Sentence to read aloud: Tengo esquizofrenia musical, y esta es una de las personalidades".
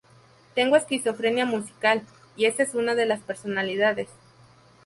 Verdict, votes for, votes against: rejected, 0, 4